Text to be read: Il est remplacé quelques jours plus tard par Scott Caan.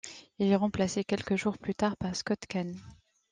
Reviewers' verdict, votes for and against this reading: accepted, 2, 0